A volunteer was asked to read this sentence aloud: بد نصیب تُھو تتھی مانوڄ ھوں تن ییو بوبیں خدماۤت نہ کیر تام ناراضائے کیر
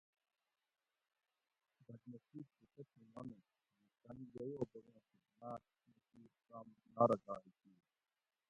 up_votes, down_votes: 0, 2